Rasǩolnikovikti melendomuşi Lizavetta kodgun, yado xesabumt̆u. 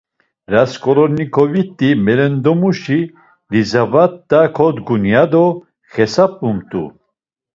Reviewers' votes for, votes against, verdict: 2, 0, accepted